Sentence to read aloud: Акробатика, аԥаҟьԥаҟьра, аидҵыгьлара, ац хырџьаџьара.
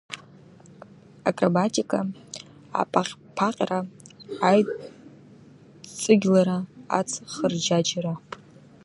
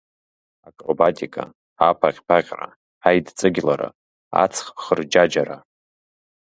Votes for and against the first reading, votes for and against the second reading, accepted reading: 1, 2, 2, 0, second